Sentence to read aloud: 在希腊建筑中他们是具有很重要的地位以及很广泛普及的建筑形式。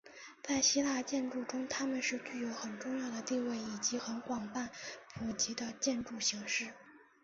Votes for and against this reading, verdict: 2, 0, accepted